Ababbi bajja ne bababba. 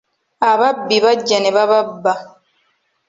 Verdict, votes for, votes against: accepted, 2, 0